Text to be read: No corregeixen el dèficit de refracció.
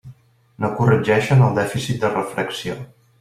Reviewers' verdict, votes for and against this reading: accepted, 2, 0